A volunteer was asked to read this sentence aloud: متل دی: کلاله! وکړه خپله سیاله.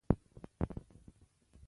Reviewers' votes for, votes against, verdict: 1, 2, rejected